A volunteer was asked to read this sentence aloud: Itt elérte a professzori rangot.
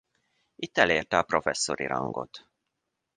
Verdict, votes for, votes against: accepted, 2, 0